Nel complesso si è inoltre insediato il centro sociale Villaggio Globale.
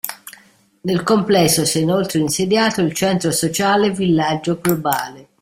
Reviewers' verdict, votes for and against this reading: accepted, 2, 0